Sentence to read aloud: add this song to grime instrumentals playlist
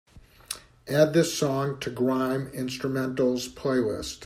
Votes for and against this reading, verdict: 2, 0, accepted